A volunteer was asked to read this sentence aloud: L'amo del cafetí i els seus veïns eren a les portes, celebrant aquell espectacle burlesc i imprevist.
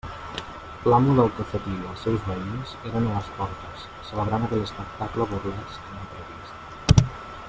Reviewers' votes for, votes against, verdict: 0, 2, rejected